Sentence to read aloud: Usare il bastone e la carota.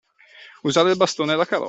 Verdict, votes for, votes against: rejected, 0, 2